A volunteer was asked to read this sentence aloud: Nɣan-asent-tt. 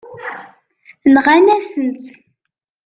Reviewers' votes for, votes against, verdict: 0, 2, rejected